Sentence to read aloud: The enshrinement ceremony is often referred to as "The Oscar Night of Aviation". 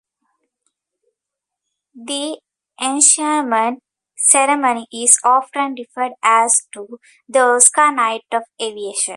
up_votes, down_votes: 0, 2